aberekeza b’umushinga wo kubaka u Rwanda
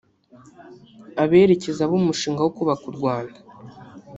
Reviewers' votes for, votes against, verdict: 2, 1, accepted